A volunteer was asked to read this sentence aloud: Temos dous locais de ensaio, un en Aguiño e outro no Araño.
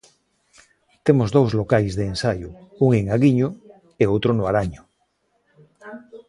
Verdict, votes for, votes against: accepted, 2, 0